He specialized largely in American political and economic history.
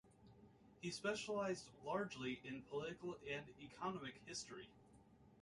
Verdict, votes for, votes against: rejected, 1, 2